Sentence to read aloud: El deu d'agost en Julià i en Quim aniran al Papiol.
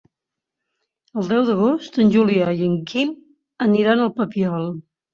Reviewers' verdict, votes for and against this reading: accepted, 3, 0